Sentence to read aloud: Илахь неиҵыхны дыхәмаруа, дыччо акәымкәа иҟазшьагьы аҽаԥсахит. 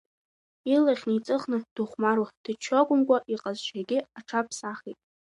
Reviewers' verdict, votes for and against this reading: accepted, 2, 0